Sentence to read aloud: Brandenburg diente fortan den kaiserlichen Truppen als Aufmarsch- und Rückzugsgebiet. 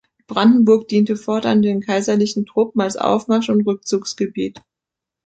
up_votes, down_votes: 2, 0